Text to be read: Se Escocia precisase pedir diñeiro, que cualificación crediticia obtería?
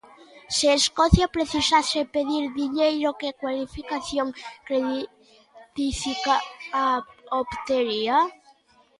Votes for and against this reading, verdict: 0, 2, rejected